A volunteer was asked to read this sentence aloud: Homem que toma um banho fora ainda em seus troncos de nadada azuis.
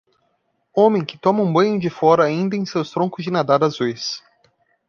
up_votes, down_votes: 0, 2